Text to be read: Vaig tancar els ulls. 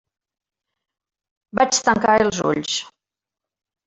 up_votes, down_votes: 3, 0